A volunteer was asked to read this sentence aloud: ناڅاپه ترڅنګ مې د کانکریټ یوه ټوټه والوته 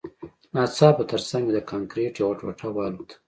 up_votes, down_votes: 2, 0